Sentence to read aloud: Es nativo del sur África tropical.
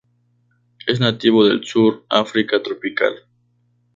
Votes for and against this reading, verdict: 2, 0, accepted